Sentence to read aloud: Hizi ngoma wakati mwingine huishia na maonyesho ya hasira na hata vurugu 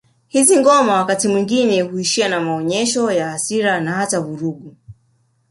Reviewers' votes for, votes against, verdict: 0, 2, rejected